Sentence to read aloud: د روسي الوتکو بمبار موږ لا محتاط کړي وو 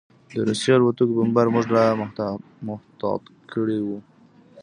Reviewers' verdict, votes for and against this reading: rejected, 0, 2